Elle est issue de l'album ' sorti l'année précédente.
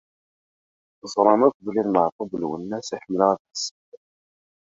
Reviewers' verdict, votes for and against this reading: rejected, 0, 2